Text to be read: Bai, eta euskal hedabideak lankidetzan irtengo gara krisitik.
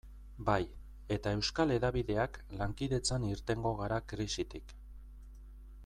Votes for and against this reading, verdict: 2, 0, accepted